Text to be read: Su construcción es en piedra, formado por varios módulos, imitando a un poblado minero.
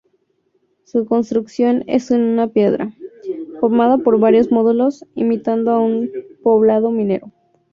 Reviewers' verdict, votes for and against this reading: rejected, 0, 2